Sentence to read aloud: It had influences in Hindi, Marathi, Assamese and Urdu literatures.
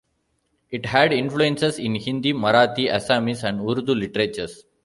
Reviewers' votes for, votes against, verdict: 2, 1, accepted